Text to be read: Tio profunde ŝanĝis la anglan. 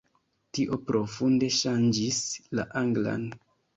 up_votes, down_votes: 2, 0